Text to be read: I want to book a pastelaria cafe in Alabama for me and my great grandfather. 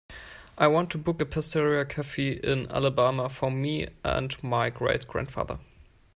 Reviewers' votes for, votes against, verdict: 0, 2, rejected